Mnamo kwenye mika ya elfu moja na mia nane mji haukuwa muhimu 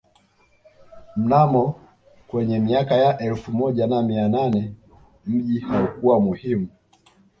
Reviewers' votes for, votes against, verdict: 2, 0, accepted